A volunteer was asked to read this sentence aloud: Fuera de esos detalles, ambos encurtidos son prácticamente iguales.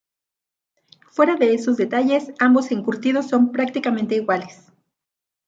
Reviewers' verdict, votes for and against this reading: rejected, 0, 2